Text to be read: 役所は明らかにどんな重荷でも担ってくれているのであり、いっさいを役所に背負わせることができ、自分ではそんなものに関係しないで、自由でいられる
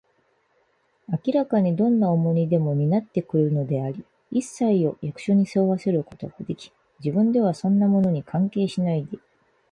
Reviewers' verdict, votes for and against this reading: accepted, 4, 0